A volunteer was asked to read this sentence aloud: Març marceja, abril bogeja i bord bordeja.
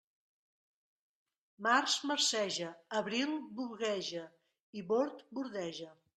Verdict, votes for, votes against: rejected, 0, 2